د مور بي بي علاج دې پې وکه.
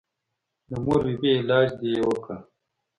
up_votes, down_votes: 2, 0